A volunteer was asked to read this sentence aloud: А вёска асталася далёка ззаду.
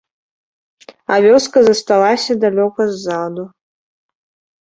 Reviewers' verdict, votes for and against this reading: rejected, 0, 2